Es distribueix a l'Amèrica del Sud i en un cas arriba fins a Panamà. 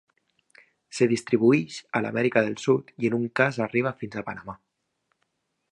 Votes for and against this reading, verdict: 1, 2, rejected